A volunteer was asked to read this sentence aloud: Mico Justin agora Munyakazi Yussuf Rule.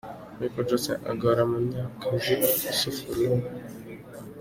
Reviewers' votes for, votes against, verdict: 3, 2, accepted